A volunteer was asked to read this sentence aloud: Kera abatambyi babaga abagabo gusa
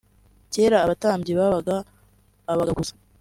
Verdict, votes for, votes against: accepted, 2, 1